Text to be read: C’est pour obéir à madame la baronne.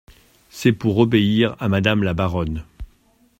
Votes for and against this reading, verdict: 2, 0, accepted